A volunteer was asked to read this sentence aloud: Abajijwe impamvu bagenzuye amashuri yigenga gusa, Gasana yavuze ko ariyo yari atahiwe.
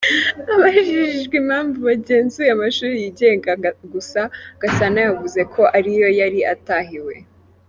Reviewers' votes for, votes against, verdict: 4, 1, accepted